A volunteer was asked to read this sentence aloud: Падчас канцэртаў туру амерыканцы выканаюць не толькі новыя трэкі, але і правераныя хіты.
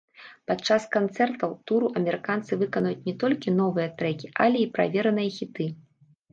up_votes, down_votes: 1, 2